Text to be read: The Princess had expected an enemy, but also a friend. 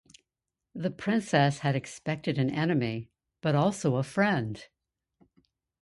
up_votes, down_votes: 2, 0